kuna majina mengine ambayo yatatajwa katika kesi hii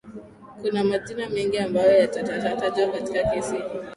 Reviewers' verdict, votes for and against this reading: rejected, 1, 2